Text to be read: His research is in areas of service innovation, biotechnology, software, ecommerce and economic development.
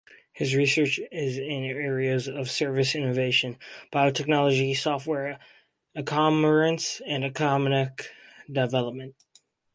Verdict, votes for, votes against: rejected, 2, 4